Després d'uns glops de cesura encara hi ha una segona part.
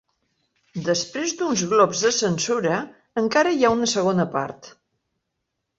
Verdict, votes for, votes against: rejected, 2, 3